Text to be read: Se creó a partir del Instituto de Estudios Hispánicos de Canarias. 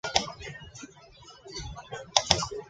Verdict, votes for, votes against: rejected, 0, 2